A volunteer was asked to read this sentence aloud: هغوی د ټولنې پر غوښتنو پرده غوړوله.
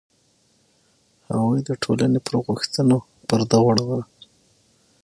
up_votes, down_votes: 6, 3